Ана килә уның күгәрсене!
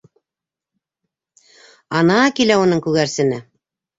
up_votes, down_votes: 3, 0